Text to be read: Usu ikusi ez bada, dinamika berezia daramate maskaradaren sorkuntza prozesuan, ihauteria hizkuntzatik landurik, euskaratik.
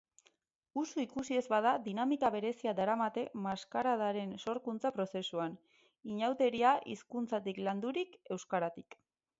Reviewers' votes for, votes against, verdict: 0, 2, rejected